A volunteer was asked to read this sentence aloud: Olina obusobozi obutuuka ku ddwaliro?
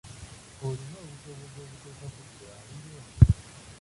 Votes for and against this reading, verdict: 0, 2, rejected